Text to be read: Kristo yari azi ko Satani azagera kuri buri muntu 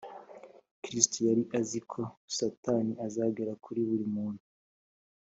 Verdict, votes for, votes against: accepted, 5, 0